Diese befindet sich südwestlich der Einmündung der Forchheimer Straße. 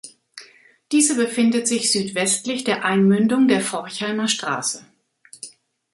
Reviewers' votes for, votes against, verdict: 2, 0, accepted